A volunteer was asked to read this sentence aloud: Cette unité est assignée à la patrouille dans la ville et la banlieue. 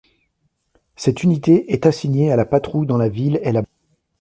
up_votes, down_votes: 0, 2